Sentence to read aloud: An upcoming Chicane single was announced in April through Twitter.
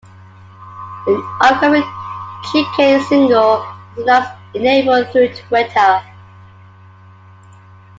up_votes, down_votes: 1, 2